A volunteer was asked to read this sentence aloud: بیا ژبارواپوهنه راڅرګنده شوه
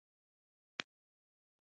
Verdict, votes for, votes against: rejected, 0, 2